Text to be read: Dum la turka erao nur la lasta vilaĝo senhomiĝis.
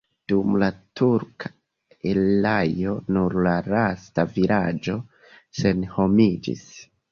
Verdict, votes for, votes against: rejected, 0, 3